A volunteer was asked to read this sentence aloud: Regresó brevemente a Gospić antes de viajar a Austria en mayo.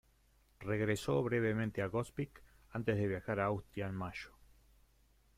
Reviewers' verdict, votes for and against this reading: accepted, 2, 0